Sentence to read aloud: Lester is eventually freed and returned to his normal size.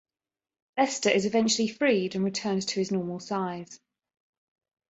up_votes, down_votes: 2, 1